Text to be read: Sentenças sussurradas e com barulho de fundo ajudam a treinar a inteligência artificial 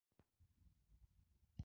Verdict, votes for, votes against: rejected, 0, 10